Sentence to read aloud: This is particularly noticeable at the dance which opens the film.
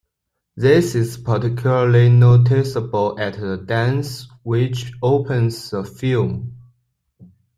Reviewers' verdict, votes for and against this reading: accepted, 2, 0